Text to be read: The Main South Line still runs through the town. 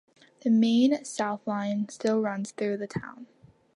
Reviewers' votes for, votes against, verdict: 2, 0, accepted